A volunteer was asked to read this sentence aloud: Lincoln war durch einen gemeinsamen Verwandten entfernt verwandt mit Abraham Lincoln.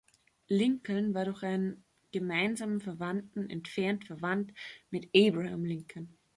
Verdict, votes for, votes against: accepted, 2, 0